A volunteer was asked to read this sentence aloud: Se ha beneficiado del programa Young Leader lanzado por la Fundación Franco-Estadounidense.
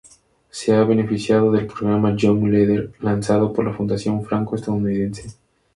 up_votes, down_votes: 2, 0